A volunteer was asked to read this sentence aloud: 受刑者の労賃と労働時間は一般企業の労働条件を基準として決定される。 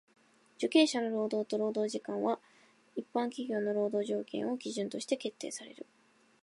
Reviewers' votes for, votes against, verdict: 0, 2, rejected